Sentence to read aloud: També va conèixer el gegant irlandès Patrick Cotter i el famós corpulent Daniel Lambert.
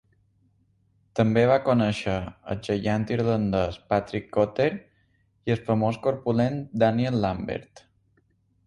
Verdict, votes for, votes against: rejected, 2, 3